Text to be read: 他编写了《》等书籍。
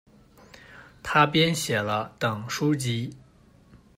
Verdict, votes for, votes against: accepted, 2, 0